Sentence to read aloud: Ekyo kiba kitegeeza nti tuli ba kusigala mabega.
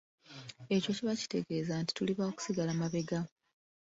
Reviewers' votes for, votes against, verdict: 2, 1, accepted